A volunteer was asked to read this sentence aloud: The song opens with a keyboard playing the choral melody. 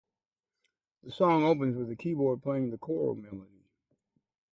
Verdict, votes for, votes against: rejected, 0, 4